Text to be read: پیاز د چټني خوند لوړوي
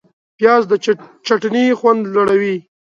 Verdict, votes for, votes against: accepted, 2, 1